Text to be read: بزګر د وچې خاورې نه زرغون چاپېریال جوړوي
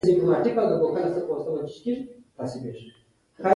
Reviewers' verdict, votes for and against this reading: rejected, 1, 3